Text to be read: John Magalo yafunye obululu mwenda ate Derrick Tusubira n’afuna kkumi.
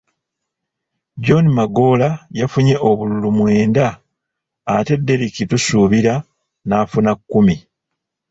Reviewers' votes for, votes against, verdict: 2, 0, accepted